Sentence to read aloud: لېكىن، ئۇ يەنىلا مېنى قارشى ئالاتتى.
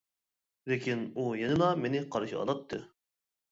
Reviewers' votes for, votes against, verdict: 2, 0, accepted